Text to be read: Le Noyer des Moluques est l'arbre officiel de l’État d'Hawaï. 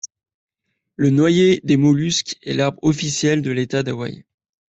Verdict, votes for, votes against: rejected, 1, 2